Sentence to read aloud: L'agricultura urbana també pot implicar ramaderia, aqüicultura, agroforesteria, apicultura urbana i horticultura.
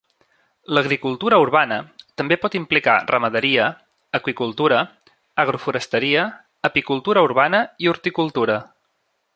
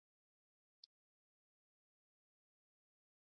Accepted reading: first